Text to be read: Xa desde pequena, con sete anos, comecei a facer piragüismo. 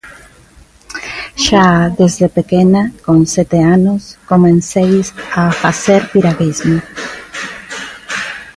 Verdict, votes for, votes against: rejected, 0, 2